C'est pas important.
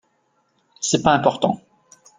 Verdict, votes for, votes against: accepted, 2, 0